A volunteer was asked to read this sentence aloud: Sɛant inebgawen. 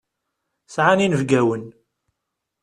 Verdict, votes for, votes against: rejected, 0, 2